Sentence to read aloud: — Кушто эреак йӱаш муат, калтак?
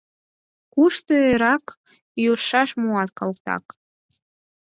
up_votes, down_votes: 4, 0